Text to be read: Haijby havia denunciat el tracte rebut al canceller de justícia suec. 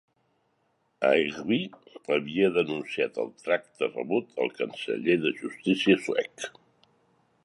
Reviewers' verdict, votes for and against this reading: accepted, 8, 0